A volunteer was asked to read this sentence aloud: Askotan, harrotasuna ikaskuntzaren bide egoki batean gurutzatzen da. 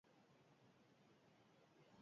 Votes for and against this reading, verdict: 0, 4, rejected